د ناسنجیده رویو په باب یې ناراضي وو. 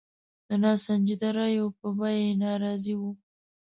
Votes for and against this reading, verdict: 0, 2, rejected